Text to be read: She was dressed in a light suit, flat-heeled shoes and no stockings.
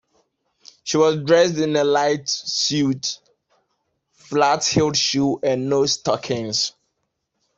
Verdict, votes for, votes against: rejected, 1, 2